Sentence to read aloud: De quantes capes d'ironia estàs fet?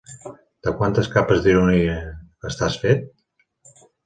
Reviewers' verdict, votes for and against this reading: accepted, 3, 0